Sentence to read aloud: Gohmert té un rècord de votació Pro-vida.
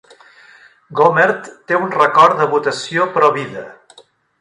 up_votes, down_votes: 0, 2